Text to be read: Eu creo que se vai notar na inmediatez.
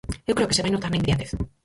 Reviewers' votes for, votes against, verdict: 0, 4, rejected